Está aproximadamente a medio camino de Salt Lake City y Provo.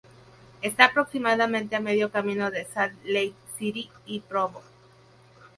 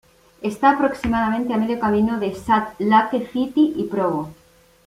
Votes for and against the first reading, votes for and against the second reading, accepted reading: 2, 0, 1, 2, first